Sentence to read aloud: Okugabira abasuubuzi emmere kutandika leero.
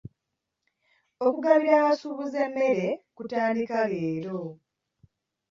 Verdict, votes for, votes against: accepted, 2, 0